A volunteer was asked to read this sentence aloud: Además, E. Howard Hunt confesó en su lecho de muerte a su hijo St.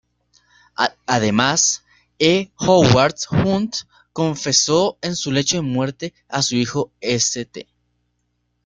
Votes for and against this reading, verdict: 1, 2, rejected